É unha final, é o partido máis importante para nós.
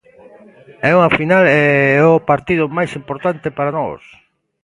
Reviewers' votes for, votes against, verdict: 0, 2, rejected